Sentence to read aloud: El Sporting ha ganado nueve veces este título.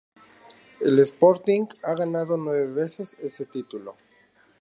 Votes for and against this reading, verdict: 0, 2, rejected